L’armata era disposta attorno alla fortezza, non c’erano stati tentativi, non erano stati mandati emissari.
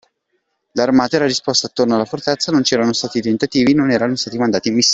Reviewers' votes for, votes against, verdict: 1, 2, rejected